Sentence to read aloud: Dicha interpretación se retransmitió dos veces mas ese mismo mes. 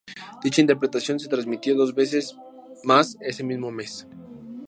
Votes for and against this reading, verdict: 4, 0, accepted